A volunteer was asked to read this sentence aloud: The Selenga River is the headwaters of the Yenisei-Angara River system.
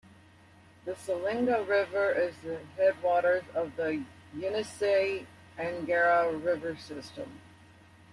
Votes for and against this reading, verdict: 2, 0, accepted